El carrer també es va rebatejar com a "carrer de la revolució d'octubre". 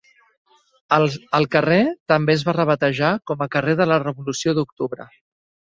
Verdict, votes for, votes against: rejected, 1, 2